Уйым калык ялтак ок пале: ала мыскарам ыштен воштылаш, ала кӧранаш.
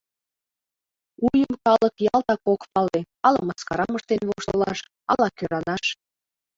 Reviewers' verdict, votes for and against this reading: rejected, 0, 2